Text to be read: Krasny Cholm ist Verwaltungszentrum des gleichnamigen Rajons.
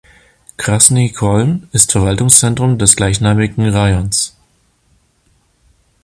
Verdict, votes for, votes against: accepted, 2, 0